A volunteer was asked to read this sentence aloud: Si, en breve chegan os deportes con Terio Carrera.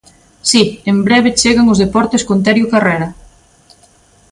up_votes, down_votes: 2, 0